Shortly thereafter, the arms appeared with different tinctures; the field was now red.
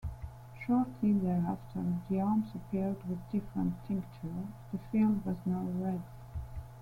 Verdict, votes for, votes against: accepted, 2, 1